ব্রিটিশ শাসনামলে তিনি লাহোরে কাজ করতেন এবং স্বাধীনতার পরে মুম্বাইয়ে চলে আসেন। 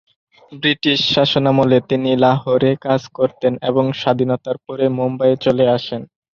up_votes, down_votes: 2, 0